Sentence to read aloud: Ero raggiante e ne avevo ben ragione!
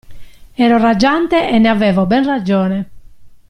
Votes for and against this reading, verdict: 1, 2, rejected